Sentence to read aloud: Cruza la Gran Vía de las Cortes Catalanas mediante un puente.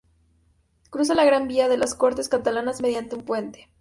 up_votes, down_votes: 4, 0